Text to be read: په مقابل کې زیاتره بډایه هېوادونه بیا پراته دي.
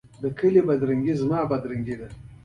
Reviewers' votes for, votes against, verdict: 2, 0, accepted